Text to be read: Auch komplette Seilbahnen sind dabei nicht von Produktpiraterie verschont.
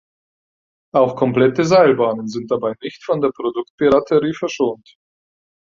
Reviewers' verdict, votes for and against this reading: rejected, 2, 4